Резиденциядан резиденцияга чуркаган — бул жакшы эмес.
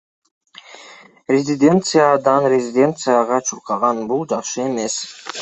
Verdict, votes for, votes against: accepted, 2, 1